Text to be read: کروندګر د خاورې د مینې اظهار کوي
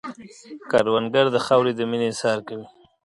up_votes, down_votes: 2, 0